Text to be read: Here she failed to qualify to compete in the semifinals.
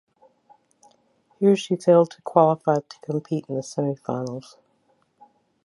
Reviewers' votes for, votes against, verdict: 2, 1, accepted